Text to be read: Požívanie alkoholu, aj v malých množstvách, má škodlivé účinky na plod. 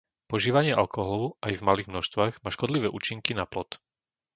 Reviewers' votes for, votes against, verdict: 2, 0, accepted